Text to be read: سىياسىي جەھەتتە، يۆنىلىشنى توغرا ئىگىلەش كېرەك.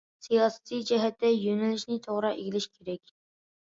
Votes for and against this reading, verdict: 2, 0, accepted